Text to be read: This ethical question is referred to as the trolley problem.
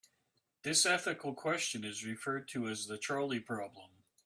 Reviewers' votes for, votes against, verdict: 2, 0, accepted